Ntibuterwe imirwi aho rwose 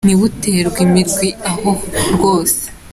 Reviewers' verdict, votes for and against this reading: accepted, 3, 0